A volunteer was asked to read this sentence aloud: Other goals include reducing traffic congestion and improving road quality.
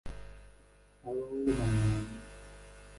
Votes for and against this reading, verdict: 0, 2, rejected